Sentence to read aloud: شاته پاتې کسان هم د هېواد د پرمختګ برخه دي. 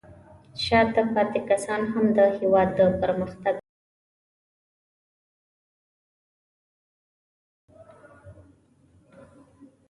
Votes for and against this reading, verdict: 2, 3, rejected